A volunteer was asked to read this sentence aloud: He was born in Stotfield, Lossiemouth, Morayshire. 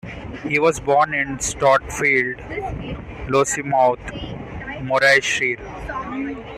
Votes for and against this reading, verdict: 2, 0, accepted